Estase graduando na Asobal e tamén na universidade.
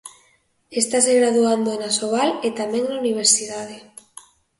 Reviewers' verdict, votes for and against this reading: accepted, 2, 0